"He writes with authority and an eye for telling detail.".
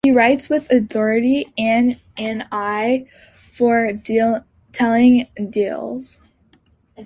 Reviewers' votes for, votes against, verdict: 0, 2, rejected